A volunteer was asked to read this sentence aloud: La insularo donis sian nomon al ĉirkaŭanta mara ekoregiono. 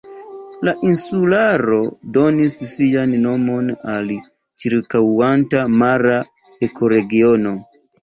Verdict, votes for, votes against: rejected, 1, 2